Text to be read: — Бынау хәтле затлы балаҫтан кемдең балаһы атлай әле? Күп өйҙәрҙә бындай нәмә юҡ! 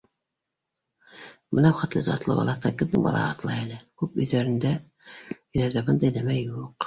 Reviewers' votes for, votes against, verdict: 1, 2, rejected